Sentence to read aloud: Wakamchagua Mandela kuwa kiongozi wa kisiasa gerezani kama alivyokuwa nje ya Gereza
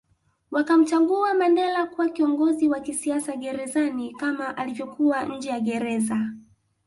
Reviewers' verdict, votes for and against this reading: accepted, 2, 0